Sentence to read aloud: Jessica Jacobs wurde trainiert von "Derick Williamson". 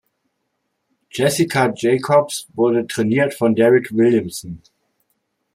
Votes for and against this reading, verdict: 2, 0, accepted